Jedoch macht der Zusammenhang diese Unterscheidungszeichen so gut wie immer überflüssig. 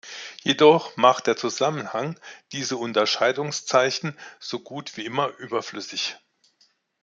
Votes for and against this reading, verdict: 2, 0, accepted